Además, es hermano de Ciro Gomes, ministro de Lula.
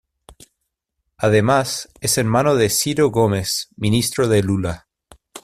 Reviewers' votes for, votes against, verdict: 1, 2, rejected